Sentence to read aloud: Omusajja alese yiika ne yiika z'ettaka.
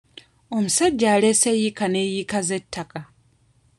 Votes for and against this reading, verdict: 1, 2, rejected